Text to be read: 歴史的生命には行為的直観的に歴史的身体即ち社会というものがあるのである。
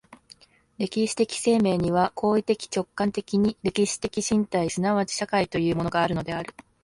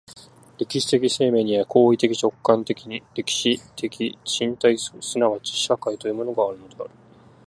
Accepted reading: first